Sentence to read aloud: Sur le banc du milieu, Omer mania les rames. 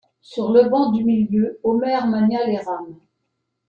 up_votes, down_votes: 2, 0